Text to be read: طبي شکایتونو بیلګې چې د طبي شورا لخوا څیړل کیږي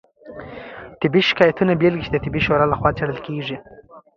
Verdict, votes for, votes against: accepted, 2, 0